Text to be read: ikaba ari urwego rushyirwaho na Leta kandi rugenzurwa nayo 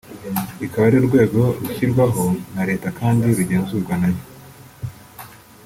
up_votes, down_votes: 1, 2